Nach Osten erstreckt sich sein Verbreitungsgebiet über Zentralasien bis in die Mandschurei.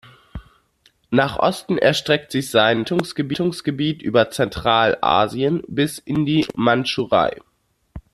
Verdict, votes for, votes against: rejected, 1, 2